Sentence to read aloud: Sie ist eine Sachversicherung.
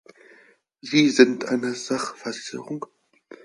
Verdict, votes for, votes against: rejected, 0, 4